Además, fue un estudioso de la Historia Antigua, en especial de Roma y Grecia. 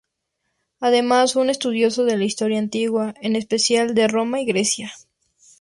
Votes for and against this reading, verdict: 2, 0, accepted